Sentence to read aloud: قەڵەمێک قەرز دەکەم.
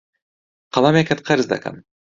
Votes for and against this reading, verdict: 1, 2, rejected